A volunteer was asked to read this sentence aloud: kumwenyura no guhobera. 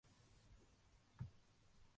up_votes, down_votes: 0, 2